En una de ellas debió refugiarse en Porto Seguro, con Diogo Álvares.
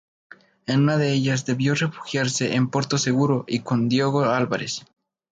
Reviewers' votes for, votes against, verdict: 0, 2, rejected